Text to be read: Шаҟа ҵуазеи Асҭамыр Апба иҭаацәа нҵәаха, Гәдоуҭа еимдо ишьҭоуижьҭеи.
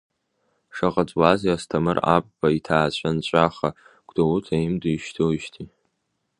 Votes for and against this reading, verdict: 2, 1, accepted